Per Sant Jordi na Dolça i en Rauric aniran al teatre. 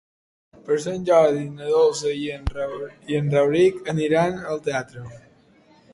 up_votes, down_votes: 0, 2